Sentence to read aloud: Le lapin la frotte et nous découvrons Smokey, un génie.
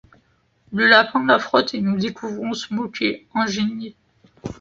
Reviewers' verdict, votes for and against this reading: accepted, 2, 0